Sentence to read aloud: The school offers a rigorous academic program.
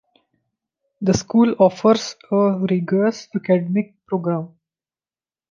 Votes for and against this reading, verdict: 1, 2, rejected